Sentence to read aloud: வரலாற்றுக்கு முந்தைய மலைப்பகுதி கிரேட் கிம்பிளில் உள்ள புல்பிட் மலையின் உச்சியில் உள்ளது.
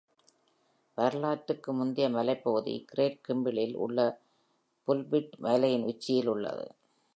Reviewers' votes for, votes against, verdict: 2, 0, accepted